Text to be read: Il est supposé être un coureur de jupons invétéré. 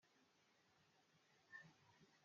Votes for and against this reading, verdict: 0, 2, rejected